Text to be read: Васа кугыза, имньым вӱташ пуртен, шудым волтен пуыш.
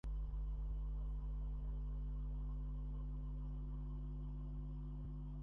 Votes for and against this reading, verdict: 0, 2, rejected